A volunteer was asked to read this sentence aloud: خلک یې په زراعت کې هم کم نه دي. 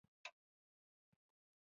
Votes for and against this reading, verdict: 2, 0, accepted